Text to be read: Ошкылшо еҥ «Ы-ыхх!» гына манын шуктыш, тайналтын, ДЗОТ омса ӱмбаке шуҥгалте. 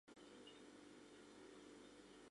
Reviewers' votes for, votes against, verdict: 1, 2, rejected